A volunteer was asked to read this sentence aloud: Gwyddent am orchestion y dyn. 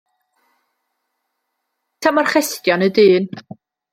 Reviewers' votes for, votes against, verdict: 0, 2, rejected